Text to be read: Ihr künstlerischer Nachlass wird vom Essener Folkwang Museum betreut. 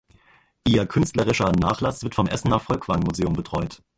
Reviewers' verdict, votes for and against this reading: rejected, 1, 2